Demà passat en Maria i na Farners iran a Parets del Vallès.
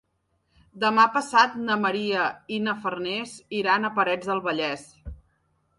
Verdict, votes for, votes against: rejected, 0, 2